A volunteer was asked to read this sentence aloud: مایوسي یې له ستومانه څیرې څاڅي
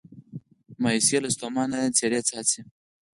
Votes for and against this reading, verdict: 4, 0, accepted